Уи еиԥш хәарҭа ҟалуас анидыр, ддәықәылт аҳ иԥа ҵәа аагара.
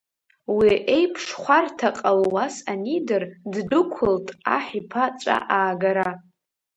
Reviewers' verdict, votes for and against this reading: rejected, 1, 2